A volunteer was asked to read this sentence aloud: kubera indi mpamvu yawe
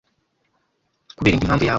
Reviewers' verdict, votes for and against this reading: rejected, 1, 2